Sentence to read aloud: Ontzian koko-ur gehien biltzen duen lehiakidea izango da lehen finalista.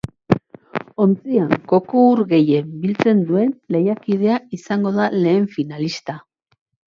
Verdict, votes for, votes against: rejected, 1, 2